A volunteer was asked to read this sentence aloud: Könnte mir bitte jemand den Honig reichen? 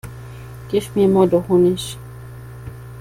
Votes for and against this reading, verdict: 0, 2, rejected